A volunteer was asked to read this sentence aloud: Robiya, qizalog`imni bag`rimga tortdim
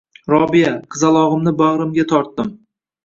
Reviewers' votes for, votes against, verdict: 2, 0, accepted